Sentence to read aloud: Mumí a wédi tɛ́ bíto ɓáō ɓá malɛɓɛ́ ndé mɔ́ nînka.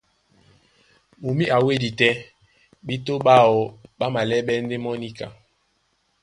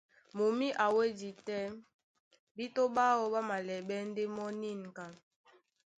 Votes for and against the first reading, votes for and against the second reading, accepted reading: 0, 2, 2, 0, second